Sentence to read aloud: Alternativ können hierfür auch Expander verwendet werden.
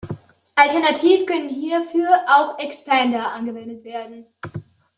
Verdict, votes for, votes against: rejected, 0, 2